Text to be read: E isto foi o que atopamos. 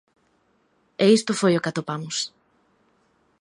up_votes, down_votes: 2, 0